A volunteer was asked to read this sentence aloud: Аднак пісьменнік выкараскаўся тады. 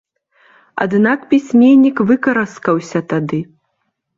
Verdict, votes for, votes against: accepted, 2, 0